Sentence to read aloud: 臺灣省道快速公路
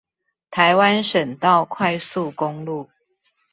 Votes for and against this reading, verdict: 2, 0, accepted